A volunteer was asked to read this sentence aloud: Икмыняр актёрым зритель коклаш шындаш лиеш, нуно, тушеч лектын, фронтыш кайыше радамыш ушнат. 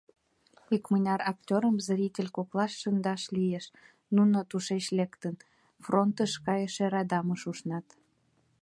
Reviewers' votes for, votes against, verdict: 1, 2, rejected